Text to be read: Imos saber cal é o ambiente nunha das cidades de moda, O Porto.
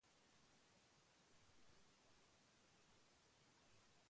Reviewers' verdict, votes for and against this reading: rejected, 0, 2